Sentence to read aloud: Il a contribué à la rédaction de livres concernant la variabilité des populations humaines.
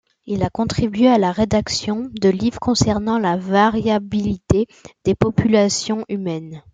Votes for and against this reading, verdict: 2, 1, accepted